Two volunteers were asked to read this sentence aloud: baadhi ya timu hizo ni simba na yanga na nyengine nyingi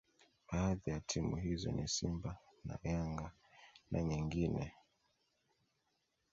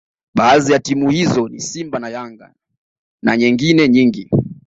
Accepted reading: second